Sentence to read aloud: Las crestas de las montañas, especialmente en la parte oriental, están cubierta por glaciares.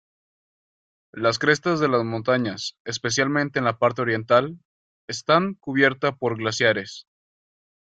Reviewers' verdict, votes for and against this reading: accepted, 2, 0